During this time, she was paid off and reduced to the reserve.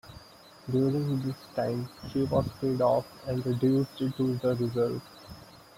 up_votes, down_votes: 2, 0